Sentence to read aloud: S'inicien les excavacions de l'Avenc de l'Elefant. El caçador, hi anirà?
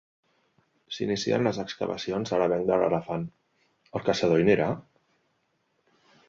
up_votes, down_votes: 1, 2